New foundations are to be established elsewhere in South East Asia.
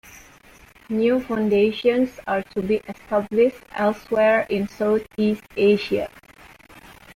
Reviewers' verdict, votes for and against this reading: accepted, 2, 1